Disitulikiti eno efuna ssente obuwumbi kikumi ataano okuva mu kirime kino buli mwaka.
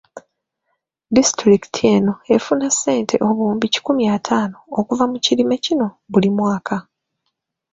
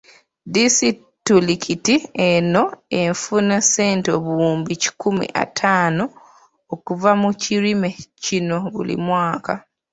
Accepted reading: first